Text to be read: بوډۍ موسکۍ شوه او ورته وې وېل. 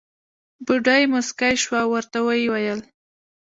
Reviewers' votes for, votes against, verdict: 1, 2, rejected